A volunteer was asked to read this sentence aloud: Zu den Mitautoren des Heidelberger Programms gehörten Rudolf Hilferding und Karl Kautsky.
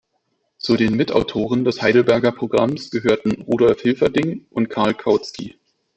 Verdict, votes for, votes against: rejected, 1, 2